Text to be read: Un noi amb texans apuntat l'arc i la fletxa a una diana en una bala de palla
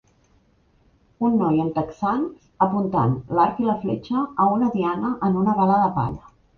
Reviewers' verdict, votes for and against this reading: rejected, 0, 2